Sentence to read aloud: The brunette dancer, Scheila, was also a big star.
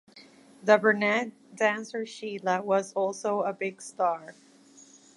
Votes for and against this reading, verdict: 2, 0, accepted